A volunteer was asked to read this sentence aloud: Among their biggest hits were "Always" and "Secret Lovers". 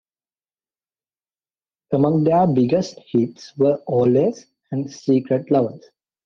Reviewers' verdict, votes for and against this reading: accepted, 2, 0